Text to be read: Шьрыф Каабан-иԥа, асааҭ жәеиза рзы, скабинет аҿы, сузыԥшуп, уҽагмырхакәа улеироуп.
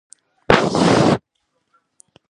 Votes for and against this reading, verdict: 0, 2, rejected